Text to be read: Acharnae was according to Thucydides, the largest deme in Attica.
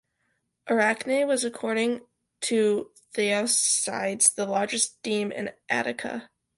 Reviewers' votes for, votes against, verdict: 0, 2, rejected